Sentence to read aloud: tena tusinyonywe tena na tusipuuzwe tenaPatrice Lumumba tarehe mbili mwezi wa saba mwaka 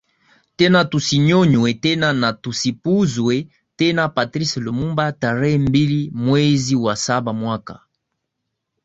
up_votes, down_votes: 2, 1